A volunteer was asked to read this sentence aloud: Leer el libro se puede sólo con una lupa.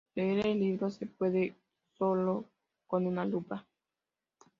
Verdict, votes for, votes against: rejected, 1, 2